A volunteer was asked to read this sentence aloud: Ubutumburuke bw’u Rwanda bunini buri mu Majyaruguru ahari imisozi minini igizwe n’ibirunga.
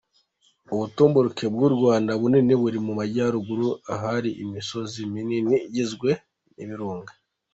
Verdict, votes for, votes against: accepted, 2, 0